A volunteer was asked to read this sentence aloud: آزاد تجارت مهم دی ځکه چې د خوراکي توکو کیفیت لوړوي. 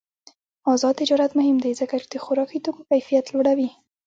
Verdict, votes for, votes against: rejected, 1, 2